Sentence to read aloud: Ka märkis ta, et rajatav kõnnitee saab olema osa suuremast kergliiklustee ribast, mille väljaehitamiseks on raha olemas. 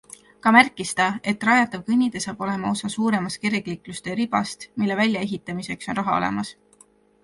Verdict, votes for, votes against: accepted, 2, 0